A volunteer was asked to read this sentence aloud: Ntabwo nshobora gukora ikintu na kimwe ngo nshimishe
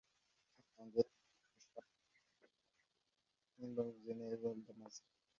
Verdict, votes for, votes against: rejected, 0, 2